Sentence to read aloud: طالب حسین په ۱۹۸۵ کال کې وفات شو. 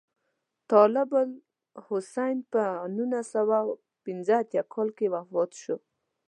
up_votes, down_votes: 0, 2